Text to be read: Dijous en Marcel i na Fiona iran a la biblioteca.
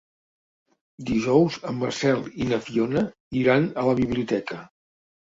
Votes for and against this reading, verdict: 3, 0, accepted